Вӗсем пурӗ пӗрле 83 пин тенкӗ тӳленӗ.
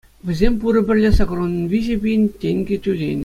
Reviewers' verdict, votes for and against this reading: rejected, 0, 2